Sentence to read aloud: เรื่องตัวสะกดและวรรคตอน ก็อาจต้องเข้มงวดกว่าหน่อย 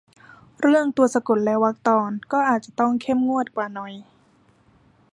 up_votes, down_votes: 1, 2